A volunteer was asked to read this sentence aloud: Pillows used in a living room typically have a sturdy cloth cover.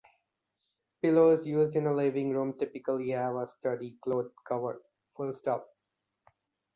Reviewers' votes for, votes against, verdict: 0, 2, rejected